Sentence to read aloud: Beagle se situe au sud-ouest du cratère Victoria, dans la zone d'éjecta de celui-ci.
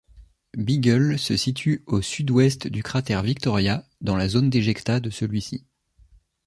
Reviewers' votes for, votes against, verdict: 2, 0, accepted